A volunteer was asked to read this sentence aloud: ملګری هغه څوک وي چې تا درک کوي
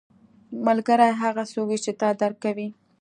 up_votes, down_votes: 2, 0